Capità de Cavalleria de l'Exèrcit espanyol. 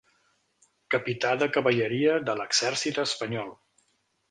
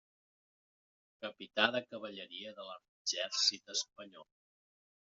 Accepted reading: first